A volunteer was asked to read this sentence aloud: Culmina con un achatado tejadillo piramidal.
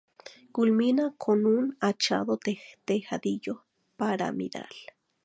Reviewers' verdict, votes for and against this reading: rejected, 0, 2